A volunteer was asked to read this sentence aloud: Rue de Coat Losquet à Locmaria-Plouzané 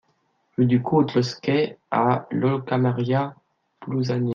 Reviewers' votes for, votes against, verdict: 0, 2, rejected